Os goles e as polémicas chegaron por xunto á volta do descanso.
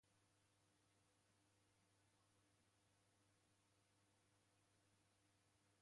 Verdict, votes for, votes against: rejected, 0, 2